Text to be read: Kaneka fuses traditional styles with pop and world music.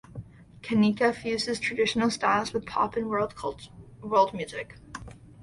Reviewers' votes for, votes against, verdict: 1, 2, rejected